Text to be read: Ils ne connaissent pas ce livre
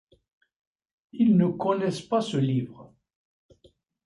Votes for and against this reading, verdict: 0, 2, rejected